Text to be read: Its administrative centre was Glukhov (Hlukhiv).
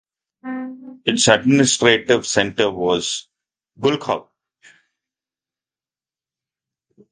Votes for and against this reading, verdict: 0, 2, rejected